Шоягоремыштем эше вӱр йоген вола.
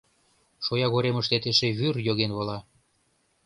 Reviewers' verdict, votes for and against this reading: rejected, 0, 2